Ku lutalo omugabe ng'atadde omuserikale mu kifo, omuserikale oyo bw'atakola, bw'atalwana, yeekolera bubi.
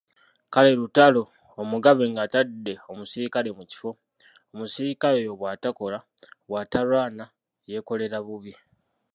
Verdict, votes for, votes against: rejected, 1, 2